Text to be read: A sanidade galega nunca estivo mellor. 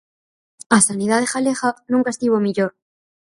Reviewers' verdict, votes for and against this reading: accepted, 4, 0